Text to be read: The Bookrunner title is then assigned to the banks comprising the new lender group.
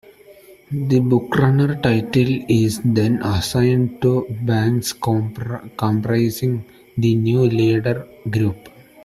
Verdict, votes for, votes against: rejected, 0, 2